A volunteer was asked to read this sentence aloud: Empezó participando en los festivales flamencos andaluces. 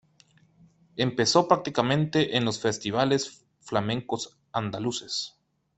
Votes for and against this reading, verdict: 0, 2, rejected